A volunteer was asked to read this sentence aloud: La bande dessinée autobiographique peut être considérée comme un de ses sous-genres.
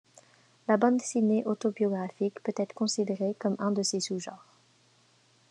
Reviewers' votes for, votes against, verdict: 2, 0, accepted